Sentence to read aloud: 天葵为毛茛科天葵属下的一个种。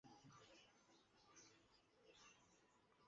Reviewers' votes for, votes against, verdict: 2, 3, rejected